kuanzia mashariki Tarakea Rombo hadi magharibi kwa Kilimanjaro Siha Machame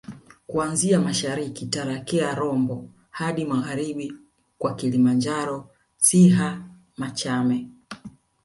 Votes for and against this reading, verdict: 2, 0, accepted